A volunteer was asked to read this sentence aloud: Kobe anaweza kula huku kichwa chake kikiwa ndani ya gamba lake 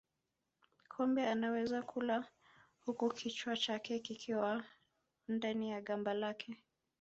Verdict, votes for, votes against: accepted, 5, 1